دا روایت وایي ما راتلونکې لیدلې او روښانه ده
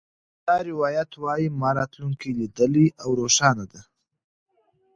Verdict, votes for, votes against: accepted, 2, 0